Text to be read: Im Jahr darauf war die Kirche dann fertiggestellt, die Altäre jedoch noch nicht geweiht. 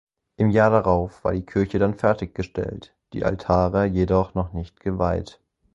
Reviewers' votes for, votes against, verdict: 0, 4, rejected